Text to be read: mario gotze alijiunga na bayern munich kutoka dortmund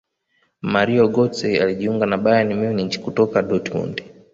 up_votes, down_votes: 2, 1